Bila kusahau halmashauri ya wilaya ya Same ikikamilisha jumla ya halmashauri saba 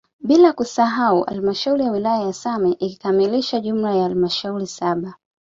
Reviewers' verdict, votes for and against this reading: accepted, 2, 1